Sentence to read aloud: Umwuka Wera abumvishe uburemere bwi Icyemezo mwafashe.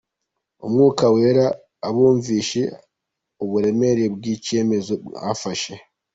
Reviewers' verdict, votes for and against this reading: accepted, 2, 1